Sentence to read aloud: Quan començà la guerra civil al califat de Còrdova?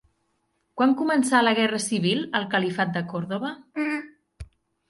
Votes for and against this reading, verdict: 2, 0, accepted